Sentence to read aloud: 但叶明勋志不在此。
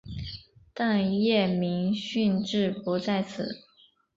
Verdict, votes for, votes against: accepted, 3, 0